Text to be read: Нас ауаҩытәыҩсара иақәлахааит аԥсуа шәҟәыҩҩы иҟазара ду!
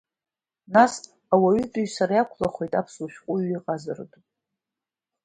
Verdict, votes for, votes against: rejected, 0, 2